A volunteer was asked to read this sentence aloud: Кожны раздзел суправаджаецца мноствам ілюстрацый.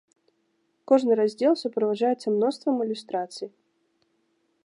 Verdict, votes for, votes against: accepted, 2, 0